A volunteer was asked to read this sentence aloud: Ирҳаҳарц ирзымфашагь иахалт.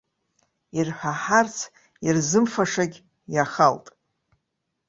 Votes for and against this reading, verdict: 0, 2, rejected